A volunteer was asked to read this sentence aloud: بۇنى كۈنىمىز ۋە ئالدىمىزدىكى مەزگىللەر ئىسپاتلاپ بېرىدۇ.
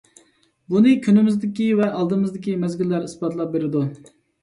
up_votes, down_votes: 0, 2